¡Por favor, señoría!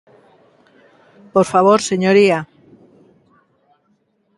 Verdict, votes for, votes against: accepted, 2, 0